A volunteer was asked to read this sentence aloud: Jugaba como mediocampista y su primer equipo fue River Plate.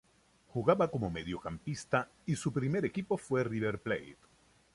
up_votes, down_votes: 2, 0